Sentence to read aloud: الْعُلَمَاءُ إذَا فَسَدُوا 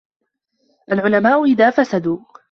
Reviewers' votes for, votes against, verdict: 2, 0, accepted